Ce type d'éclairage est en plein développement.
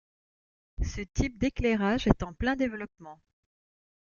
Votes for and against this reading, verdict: 2, 0, accepted